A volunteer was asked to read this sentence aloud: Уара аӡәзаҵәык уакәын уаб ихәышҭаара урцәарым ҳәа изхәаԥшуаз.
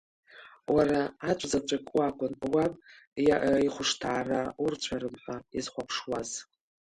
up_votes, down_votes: 0, 3